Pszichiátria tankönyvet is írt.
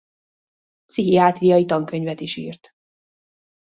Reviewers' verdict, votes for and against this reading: rejected, 1, 2